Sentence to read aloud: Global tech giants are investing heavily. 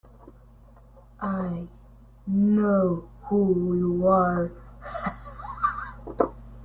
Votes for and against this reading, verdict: 0, 2, rejected